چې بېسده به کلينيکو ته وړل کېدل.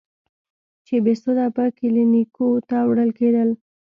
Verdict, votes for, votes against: accepted, 2, 0